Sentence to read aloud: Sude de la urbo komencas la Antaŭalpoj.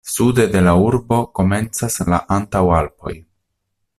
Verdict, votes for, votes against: accepted, 2, 0